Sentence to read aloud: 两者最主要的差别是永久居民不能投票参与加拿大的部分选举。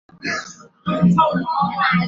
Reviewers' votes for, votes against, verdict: 0, 4, rejected